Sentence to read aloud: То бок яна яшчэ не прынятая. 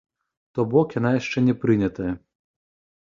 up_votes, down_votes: 0, 2